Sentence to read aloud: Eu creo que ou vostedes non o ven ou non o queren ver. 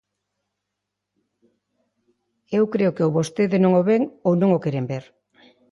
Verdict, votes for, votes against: rejected, 0, 2